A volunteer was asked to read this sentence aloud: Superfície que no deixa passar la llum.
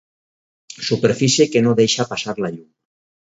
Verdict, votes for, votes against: rejected, 2, 2